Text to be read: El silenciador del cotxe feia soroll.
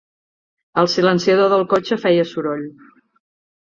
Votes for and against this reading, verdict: 2, 0, accepted